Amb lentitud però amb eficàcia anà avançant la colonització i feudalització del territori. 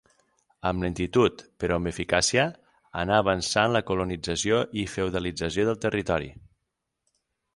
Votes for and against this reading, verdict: 12, 0, accepted